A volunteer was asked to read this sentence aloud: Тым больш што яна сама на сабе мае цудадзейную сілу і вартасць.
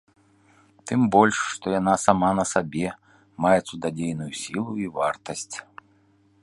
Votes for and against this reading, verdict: 2, 0, accepted